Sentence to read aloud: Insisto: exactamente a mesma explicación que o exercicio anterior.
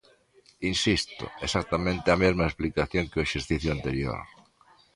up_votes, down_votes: 2, 0